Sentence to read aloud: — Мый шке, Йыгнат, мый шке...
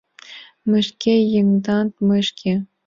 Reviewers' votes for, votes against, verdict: 1, 2, rejected